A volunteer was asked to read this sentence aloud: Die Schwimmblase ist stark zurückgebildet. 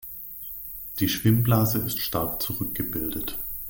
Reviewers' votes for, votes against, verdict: 2, 0, accepted